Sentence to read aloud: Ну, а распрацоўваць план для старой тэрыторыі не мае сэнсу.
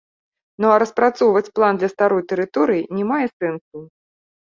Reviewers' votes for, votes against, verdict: 2, 1, accepted